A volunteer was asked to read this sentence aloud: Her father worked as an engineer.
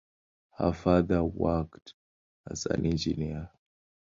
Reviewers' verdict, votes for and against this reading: accepted, 2, 0